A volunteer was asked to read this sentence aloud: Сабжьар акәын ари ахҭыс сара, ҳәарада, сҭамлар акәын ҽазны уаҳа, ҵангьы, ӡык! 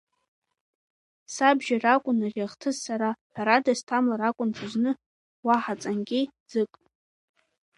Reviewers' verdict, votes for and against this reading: rejected, 0, 2